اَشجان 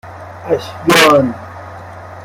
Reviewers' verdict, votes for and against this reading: accepted, 2, 0